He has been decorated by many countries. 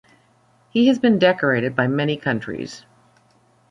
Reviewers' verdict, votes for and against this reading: accepted, 2, 0